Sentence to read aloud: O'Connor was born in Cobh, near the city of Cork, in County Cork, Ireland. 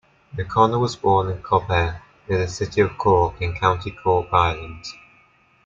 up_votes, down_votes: 2, 0